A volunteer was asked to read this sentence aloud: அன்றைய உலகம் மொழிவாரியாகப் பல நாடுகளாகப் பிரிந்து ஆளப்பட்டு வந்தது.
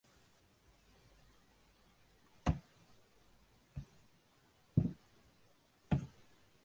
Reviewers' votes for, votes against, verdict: 0, 2, rejected